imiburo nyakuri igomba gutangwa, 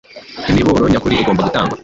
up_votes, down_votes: 1, 2